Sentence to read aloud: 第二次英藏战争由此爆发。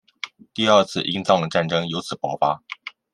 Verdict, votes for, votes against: accepted, 2, 0